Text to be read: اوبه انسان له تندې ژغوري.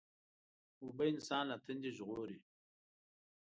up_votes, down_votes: 2, 1